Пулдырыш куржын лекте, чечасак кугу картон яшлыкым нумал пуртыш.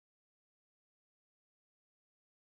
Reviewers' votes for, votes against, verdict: 0, 2, rejected